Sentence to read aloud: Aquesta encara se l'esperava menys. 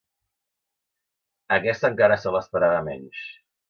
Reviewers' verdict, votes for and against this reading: accepted, 3, 0